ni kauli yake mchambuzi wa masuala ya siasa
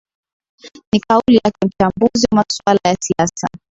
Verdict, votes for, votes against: accepted, 5, 0